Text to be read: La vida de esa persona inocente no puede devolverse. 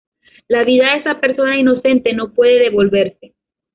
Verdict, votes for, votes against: accepted, 2, 0